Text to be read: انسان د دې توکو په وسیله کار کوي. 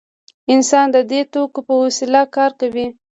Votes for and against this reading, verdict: 2, 0, accepted